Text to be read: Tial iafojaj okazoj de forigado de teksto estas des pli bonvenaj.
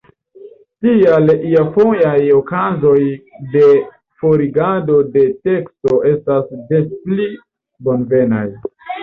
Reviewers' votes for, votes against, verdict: 1, 2, rejected